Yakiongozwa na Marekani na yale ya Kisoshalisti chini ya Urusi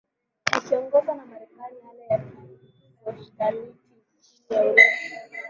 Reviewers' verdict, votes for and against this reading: rejected, 0, 2